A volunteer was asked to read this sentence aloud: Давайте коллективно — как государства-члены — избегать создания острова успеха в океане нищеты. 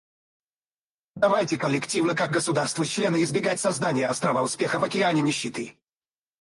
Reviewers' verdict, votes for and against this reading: rejected, 2, 4